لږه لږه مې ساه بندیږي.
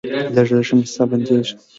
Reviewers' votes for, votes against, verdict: 1, 3, rejected